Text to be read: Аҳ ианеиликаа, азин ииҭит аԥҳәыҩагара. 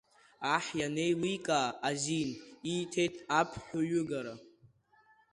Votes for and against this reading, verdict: 0, 2, rejected